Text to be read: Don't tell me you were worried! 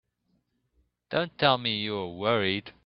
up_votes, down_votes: 2, 0